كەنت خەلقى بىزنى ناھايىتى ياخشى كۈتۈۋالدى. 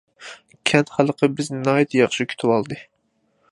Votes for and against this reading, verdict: 2, 0, accepted